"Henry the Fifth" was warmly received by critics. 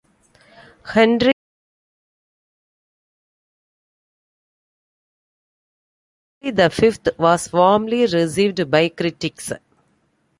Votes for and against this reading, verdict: 0, 2, rejected